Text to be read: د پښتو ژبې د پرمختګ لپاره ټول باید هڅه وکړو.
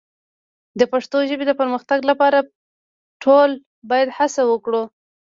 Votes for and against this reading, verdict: 1, 2, rejected